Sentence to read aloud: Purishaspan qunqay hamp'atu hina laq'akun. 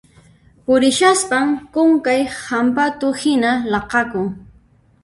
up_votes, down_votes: 1, 3